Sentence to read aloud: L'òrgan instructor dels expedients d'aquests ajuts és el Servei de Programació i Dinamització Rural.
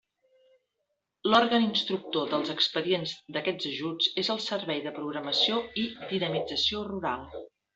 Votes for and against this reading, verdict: 0, 2, rejected